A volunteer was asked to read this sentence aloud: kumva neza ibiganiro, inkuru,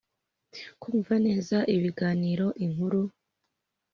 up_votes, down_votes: 3, 0